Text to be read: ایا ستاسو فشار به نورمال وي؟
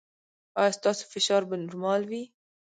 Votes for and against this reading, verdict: 0, 2, rejected